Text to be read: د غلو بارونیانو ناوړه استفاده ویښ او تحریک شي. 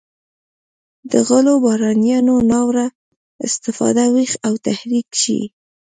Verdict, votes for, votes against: rejected, 1, 2